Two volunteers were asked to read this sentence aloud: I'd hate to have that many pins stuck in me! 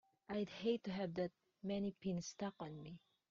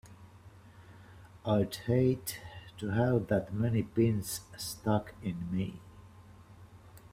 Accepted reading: second